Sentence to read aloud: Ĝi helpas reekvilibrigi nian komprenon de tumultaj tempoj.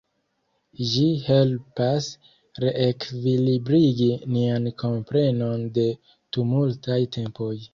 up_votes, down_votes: 2, 0